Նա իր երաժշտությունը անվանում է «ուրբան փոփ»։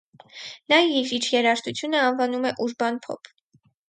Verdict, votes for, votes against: accepted, 4, 0